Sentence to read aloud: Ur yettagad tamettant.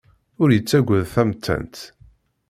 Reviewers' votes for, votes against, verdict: 2, 0, accepted